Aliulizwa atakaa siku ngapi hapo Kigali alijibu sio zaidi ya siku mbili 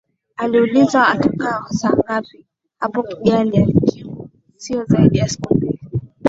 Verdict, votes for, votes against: rejected, 0, 2